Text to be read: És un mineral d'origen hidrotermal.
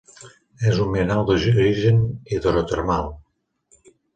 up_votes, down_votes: 1, 2